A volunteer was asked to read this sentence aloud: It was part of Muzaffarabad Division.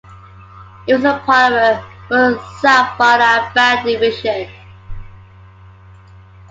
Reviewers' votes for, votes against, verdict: 2, 1, accepted